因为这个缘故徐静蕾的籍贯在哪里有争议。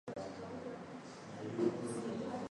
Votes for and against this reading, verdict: 0, 2, rejected